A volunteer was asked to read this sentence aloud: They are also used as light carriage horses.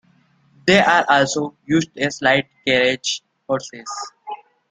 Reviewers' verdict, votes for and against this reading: accepted, 2, 1